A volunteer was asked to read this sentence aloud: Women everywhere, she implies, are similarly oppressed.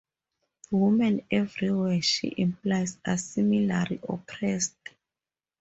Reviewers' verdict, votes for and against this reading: rejected, 0, 2